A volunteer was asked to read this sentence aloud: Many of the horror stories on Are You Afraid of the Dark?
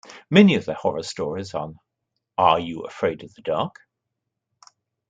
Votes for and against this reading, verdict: 2, 0, accepted